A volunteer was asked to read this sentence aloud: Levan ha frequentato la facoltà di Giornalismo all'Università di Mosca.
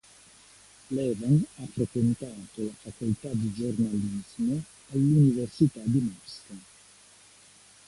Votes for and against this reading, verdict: 1, 2, rejected